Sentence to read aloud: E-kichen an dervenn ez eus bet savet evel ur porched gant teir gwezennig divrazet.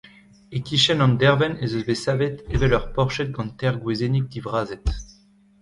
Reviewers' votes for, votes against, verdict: 3, 1, accepted